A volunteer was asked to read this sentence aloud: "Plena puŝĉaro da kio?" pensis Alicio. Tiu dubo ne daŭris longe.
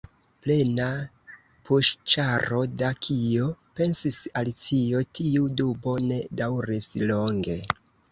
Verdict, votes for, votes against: accepted, 2, 1